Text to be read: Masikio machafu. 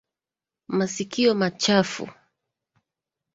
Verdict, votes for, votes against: accepted, 2, 1